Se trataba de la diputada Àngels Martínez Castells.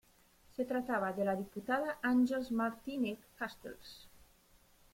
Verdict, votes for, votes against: accepted, 2, 0